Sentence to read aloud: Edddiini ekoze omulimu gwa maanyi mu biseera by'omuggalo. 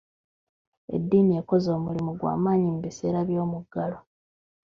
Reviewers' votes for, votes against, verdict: 2, 1, accepted